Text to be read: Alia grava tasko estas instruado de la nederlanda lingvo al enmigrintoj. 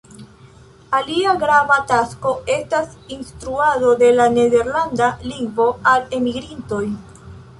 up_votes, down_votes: 0, 3